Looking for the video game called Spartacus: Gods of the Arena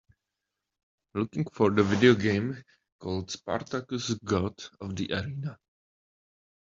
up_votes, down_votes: 1, 3